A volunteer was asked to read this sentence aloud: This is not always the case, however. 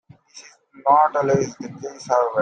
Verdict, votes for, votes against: accepted, 2, 0